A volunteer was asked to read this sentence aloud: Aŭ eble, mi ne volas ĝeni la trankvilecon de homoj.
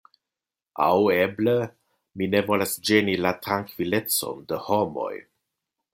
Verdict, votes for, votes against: accepted, 2, 0